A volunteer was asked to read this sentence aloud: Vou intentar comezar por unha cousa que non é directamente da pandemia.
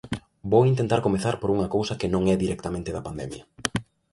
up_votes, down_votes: 2, 0